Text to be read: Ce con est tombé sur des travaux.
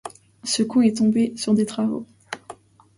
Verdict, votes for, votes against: accepted, 2, 1